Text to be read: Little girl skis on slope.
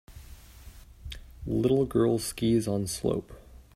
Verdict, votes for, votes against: accepted, 3, 0